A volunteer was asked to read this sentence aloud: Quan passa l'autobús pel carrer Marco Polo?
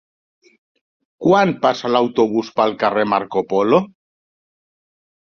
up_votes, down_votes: 3, 0